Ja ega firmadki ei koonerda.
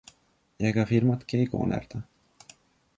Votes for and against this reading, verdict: 2, 0, accepted